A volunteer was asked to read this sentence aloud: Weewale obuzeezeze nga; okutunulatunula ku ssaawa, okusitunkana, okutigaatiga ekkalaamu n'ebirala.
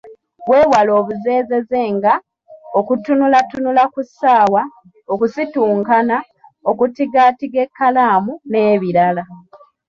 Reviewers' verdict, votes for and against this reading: rejected, 0, 2